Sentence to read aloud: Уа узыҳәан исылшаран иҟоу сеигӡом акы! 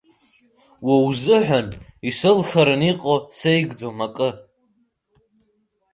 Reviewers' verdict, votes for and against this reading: rejected, 1, 2